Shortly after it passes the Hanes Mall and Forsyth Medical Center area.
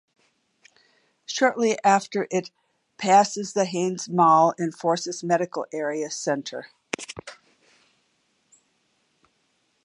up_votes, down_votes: 0, 2